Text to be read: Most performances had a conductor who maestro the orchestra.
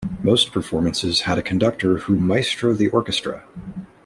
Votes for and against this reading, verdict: 2, 0, accepted